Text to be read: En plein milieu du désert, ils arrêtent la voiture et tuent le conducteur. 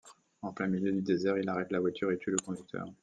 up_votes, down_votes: 1, 2